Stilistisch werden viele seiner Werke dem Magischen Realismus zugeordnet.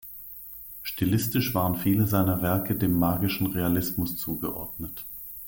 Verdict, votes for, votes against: rejected, 0, 2